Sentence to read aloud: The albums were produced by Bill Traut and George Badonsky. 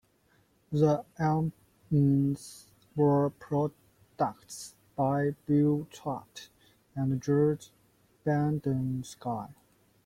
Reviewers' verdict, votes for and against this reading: rejected, 0, 2